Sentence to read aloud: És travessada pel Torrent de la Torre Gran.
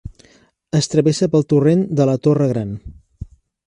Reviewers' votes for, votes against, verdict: 0, 2, rejected